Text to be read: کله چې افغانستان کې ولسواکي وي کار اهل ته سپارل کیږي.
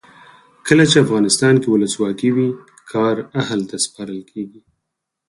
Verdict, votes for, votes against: accepted, 4, 0